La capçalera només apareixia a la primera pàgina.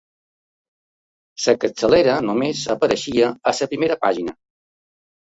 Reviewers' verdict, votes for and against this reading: rejected, 0, 2